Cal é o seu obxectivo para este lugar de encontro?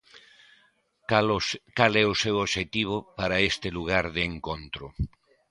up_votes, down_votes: 0, 2